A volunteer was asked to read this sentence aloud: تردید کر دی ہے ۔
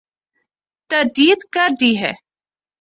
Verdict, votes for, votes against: accepted, 2, 0